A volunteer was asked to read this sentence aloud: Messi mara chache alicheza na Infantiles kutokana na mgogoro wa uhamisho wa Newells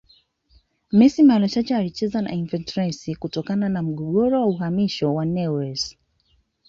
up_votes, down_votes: 2, 0